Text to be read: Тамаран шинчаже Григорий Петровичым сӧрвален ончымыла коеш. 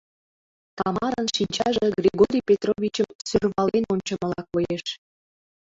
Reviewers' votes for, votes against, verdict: 0, 2, rejected